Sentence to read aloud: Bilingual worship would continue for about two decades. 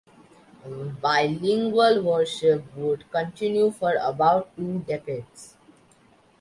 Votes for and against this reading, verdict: 2, 0, accepted